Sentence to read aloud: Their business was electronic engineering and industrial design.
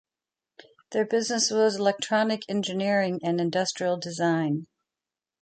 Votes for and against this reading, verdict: 2, 1, accepted